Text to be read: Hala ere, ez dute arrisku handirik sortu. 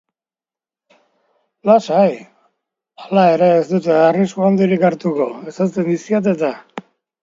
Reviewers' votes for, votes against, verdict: 0, 2, rejected